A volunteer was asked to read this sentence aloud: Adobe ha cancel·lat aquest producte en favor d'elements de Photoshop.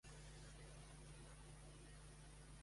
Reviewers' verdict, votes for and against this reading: rejected, 0, 2